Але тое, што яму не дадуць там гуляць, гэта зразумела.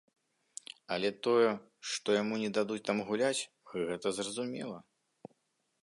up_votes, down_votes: 2, 0